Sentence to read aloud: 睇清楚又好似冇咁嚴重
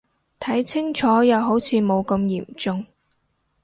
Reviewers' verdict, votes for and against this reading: rejected, 0, 2